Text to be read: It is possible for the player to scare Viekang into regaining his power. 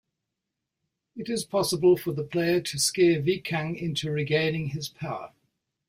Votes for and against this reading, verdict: 2, 0, accepted